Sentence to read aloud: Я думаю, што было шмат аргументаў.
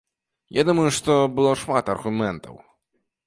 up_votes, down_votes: 1, 2